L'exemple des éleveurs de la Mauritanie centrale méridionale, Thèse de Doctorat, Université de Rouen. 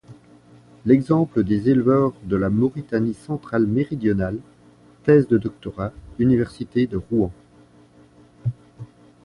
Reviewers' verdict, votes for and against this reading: accepted, 2, 0